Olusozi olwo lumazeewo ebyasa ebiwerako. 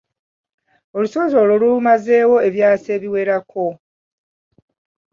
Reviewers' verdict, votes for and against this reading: rejected, 0, 2